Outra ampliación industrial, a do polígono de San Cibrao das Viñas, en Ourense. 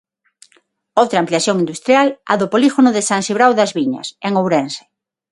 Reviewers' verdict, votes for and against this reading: accepted, 6, 0